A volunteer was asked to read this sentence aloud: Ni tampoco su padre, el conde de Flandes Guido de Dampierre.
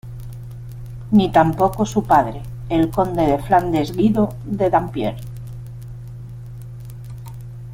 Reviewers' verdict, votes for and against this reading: rejected, 0, 2